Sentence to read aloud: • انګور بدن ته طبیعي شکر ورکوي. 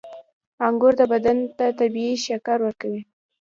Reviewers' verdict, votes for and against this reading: accepted, 2, 0